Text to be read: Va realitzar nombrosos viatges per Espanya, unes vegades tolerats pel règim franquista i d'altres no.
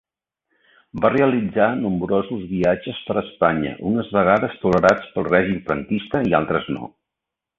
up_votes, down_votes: 2, 1